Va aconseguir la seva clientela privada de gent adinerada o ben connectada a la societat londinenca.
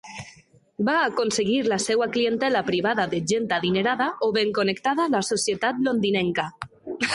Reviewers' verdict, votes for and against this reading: rejected, 0, 2